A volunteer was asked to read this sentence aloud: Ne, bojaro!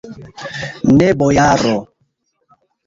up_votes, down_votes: 0, 2